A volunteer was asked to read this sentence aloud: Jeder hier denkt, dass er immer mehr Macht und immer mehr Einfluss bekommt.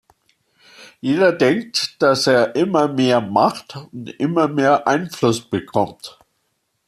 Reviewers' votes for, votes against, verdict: 0, 2, rejected